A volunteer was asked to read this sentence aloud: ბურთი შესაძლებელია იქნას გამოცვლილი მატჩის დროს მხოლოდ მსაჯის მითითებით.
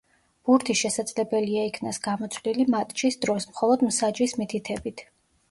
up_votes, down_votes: 2, 0